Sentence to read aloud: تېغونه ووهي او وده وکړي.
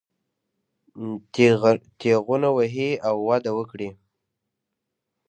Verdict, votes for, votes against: accepted, 2, 0